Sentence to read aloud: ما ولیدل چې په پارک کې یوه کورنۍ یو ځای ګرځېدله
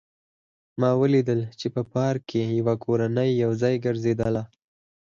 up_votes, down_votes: 2, 4